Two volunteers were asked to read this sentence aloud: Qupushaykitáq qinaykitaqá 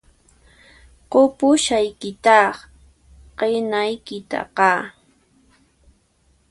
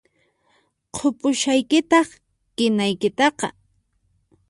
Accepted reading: first